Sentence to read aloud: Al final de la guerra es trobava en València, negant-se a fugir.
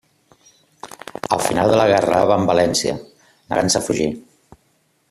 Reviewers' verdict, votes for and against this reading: rejected, 0, 2